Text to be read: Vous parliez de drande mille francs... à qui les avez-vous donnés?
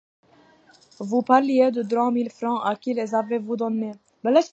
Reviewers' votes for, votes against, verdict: 0, 2, rejected